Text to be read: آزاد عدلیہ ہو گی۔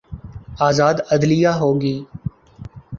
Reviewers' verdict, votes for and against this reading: accepted, 2, 0